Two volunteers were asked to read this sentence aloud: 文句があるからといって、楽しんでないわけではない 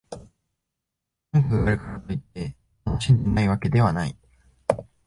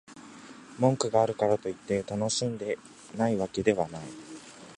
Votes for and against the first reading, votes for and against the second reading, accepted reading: 1, 2, 2, 0, second